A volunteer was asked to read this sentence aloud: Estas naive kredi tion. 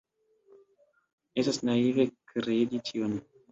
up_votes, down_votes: 2, 1